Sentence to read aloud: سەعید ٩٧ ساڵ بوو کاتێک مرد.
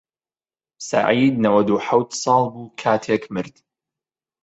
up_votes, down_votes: 0, 2